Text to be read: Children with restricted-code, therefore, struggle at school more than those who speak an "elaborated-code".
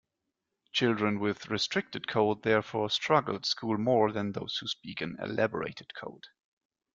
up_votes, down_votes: 2, 0